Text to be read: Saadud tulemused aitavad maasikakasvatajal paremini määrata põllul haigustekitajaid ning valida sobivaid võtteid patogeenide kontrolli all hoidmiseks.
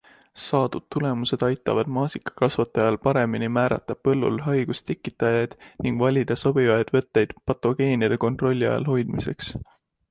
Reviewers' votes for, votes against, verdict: 2, 0, accepted